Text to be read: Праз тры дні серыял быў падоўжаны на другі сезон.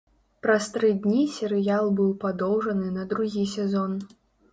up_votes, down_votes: 3, 0